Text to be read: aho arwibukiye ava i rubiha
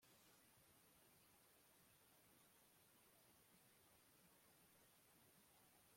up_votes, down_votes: 0, 2